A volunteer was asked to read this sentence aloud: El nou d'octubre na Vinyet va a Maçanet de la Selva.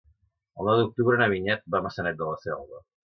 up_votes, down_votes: 2, 1